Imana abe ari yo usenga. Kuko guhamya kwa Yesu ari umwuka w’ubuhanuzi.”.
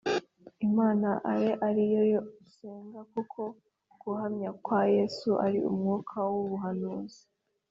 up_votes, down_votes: 3, 0